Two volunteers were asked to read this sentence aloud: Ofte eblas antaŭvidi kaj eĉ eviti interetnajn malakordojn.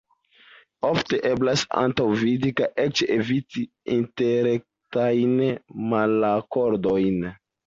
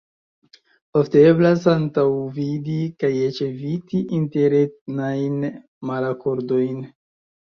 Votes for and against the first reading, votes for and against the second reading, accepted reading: 0, 2, 2, 0, second